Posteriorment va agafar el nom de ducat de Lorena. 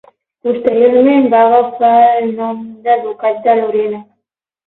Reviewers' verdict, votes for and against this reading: accepted, 12, 6